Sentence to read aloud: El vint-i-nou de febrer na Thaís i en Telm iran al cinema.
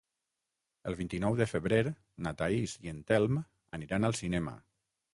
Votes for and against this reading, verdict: 0, 6, rejected